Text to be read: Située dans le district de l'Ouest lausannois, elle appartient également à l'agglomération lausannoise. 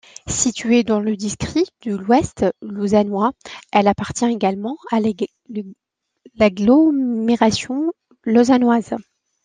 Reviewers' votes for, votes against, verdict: 0, 2, rejected